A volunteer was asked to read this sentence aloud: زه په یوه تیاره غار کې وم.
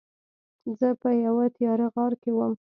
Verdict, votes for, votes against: accepted, 2, 0